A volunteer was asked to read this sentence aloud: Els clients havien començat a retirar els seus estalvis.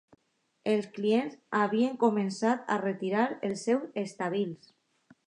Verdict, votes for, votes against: accepted, 2, 0